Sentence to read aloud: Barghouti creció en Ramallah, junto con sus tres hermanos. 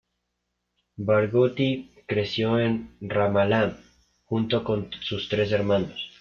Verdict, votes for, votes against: rejected, 0, 2